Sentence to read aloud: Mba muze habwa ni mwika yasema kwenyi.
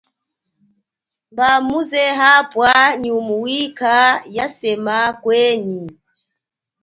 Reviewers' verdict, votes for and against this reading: accepted, 2, 0